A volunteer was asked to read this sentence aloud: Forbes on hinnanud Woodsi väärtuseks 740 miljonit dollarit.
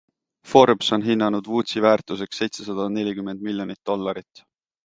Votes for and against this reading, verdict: 0, 2, rejected